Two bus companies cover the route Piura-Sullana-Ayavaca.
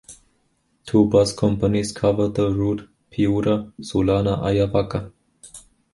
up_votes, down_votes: 2, 1